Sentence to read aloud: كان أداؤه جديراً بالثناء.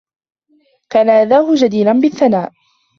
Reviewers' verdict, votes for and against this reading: accepted, 2, 1